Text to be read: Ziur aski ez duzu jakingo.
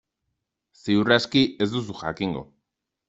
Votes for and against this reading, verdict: 2, 0, accepted